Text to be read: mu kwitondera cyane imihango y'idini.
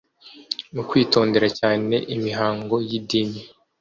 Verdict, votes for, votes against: accepted, 2, 0